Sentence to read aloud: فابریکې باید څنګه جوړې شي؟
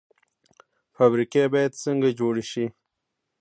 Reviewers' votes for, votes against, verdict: 0, 2, rejected